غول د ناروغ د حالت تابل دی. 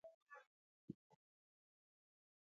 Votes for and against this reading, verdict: 1, 2, rejected